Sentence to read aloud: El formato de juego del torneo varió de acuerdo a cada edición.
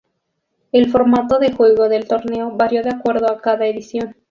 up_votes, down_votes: 4, 0